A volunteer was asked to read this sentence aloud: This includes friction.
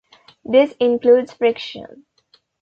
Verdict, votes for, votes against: accepted, 2, 0